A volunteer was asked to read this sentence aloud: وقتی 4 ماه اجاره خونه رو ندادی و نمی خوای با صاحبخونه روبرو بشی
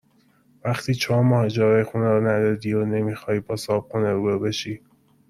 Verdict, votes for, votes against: rejected, 0, 2